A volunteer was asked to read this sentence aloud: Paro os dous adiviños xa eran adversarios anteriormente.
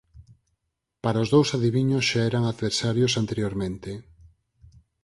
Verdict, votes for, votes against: rejected, 2, 2